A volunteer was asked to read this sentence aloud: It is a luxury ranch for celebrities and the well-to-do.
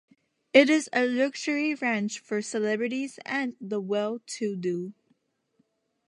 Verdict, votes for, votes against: accepted, 2, 0